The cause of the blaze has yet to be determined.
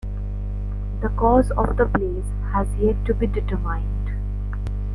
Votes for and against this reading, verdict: 2, 0, accepted